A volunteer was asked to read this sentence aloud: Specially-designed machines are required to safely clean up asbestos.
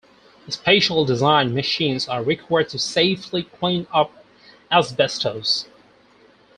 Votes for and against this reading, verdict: 2, 4, rejected